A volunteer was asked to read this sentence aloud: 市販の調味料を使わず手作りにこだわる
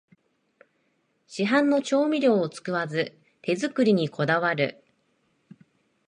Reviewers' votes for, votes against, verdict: 2, 0, accepted